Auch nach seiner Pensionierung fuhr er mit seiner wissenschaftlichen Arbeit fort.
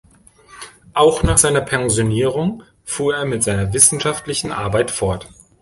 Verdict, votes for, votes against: accepted, 3, 0